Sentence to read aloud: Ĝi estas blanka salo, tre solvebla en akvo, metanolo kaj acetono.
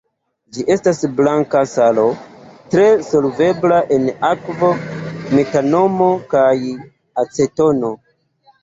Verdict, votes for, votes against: rejected, 1, 2